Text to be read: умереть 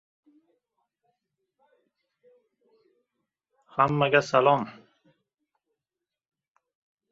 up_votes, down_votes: 0, 2